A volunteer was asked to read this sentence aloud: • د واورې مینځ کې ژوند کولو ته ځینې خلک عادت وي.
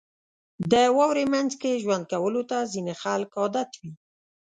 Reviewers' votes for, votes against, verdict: 2, 0, accepted